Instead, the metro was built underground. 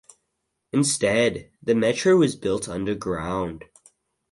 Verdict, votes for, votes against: accepted, 4, 0